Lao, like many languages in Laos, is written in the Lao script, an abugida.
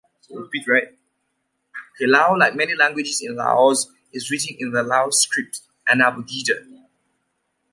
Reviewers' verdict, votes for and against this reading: rejected, 1, 2